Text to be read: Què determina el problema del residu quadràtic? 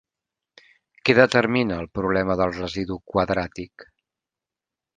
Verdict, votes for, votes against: accepted, 3, 0